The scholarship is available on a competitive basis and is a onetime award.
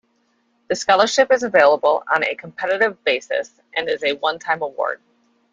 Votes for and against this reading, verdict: 2, 0, accepted